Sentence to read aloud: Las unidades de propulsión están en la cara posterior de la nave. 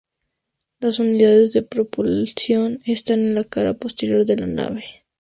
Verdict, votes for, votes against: rejected, 2, 2